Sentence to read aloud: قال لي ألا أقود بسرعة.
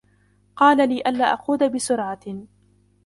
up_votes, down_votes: 1, 2